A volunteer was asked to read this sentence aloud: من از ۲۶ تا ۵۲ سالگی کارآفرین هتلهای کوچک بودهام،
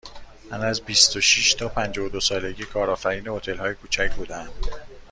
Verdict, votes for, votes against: rejected, 0, 2